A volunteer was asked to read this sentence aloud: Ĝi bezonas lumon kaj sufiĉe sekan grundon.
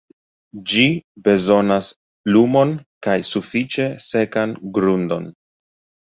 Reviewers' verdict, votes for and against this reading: accepted, 2, 1